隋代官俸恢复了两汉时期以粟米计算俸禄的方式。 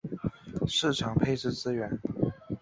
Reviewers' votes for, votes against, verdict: 1, 2, rejected